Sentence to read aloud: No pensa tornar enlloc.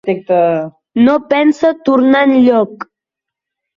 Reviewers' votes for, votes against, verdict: 1, 2, rejected